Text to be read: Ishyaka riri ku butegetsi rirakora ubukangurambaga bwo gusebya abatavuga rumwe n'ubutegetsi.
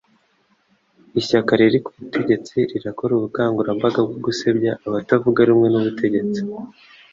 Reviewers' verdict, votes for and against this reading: accepted, 3, 0